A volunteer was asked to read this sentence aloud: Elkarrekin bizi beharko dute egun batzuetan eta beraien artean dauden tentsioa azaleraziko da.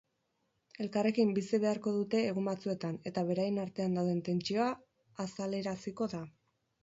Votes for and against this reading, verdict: 8, 2, accepted